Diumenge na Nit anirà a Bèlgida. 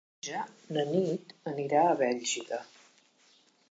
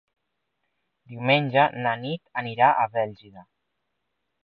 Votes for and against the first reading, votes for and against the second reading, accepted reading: 0, 3, 4, 0, second